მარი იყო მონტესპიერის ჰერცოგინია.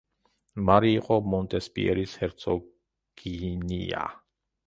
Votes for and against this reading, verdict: 0, 2, rejected